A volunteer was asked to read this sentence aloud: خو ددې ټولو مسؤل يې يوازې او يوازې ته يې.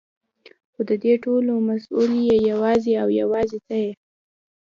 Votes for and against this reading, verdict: 2, 0, accepted